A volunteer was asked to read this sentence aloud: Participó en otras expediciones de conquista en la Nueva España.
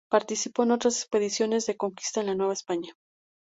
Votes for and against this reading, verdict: 4, 0, accepted